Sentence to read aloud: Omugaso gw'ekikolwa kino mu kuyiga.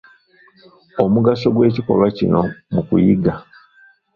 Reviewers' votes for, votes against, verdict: 0, 2, rejected